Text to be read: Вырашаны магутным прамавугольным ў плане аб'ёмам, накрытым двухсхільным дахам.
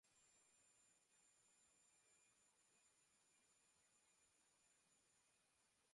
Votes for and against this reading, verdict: 0, 2, rejected